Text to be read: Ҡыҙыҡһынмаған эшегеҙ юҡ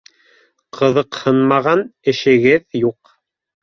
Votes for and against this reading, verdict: 2, 0, accepted